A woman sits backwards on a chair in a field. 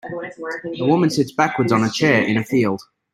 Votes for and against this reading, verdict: 2, 1, accepted